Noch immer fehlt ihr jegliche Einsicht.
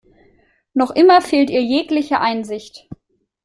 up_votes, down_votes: 2, 0